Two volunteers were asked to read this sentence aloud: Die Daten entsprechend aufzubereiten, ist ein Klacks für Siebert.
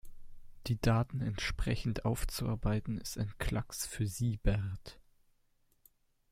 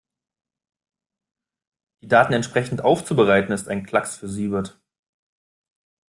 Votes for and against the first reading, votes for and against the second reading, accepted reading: 0, 2, 2, 0, second